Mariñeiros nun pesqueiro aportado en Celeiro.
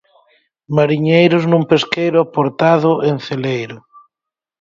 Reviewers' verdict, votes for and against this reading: accepted, 4, 0